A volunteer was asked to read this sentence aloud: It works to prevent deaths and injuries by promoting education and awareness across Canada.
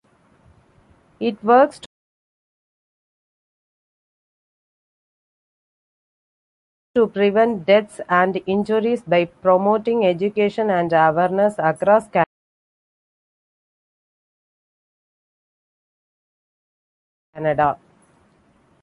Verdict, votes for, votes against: rejected, 0, 2